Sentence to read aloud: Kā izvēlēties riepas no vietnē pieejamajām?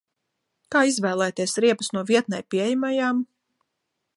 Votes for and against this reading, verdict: 2, 0, accepted